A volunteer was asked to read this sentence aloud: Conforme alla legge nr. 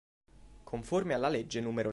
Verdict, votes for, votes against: rejected, 1, 2